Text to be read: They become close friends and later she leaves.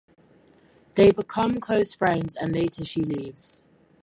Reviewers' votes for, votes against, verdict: 2, 4, rejected